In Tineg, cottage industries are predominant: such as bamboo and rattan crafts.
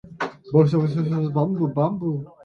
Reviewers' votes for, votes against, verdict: 0, 2, rejected